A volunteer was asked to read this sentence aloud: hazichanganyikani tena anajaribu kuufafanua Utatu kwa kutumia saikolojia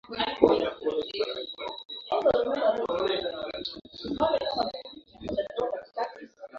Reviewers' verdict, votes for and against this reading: rejected, 0, 2